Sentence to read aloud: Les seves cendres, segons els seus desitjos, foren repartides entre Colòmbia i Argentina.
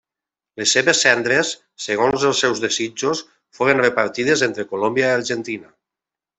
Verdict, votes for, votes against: rejected, 0, 2